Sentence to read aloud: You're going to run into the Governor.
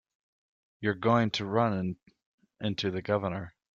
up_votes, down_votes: 0, 2